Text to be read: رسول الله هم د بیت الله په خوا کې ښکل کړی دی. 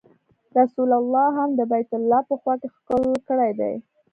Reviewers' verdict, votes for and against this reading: accepted, 2, 0